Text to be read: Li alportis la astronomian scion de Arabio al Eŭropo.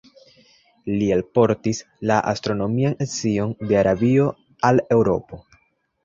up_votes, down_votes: 2, 0